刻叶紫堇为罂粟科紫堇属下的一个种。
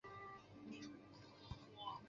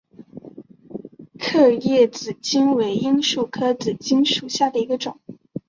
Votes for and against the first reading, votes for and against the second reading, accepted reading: 0, 2, 3, 2, second